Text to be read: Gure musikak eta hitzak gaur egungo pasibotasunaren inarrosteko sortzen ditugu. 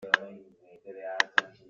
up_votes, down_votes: 0, 2